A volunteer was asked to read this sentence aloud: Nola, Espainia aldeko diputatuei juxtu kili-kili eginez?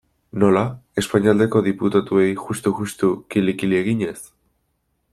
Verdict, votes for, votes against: rejected, 0, 2